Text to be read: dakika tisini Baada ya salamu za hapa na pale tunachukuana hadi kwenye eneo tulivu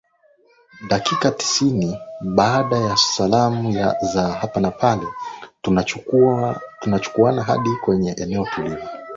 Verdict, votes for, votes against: rejected, 5, 5